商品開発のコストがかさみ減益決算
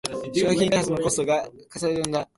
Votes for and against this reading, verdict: 0, 3, rejected